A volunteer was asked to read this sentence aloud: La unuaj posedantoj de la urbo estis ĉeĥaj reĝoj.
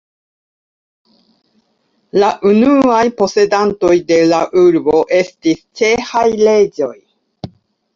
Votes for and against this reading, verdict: 2, 0, accepted